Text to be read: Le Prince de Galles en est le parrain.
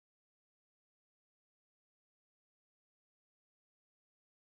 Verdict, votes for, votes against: rejected, 0, 2